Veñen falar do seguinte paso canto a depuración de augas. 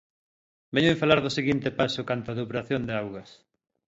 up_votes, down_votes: 2, 0